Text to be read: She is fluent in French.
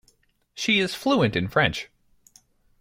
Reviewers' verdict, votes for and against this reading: accepted, 2, 0